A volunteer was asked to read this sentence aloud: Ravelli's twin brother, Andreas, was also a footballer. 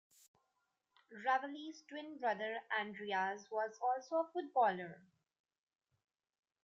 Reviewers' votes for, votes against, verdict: 2, 0, accepted